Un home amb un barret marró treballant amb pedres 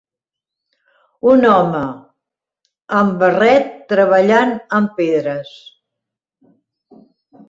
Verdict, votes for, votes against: rejected, 0, 2